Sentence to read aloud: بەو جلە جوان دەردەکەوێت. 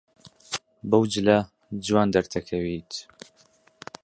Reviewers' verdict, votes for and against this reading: accepted, 3, 1